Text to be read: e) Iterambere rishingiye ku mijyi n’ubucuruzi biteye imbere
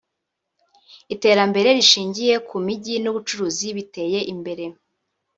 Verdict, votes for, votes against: rejected, 1, 2